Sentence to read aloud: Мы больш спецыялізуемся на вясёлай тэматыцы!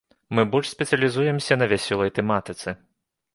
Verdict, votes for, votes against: accepted, 2, 0